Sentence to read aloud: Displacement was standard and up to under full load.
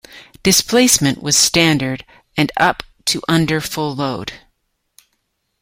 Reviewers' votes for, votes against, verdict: 2, 0, accepted